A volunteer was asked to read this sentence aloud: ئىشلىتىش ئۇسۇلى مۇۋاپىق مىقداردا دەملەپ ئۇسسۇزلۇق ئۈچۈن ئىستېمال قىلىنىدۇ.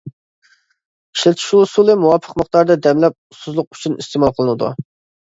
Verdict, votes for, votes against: accepted, 2, 0